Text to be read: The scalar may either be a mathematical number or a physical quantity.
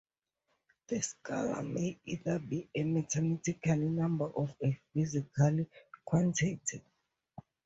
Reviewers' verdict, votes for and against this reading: rejected, 2, 2